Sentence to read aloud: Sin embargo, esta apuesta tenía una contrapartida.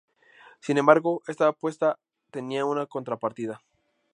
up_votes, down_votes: 2, 0